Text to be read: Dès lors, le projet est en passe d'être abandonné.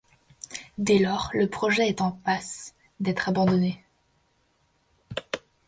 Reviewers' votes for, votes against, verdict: 2, 0, accepted